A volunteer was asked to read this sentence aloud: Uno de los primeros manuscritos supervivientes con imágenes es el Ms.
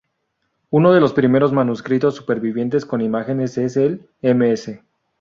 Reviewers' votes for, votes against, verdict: 2, 0, accepted